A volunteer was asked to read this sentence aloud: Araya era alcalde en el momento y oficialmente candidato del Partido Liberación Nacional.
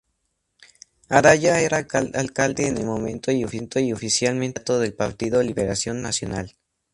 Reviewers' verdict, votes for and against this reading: rejected, 0, 2